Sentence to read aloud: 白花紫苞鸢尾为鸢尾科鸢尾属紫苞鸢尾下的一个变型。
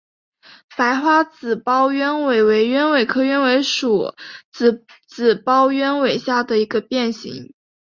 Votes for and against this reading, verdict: 2, 1, accepted